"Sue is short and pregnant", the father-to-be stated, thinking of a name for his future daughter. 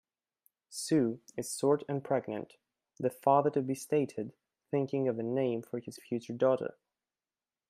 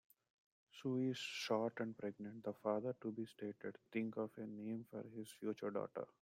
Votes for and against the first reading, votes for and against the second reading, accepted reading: 0, 2, 2, 1, second